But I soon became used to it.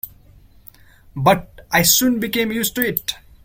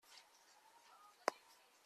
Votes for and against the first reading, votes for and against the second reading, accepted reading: 2, 1, 0, 2, first